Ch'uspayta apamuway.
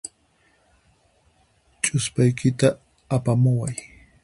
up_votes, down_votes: 0, 4